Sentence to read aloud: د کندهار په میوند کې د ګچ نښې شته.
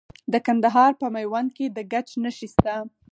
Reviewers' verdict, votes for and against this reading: rejected, 2, 4